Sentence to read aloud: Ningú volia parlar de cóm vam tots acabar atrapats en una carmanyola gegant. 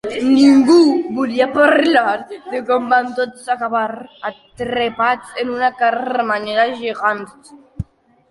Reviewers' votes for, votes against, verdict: 0, 2, rejected